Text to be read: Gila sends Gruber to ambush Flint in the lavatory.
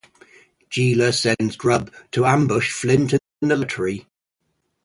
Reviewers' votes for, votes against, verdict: 0, 2, rejected